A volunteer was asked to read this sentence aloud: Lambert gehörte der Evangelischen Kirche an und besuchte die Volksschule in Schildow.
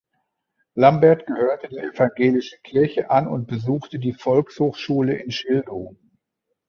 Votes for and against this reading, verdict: 1, 2, rejected